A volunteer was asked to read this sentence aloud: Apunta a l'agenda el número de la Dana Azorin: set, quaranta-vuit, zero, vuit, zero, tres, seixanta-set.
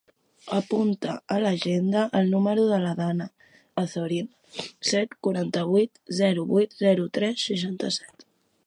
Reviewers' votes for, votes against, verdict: 2, 0, accepted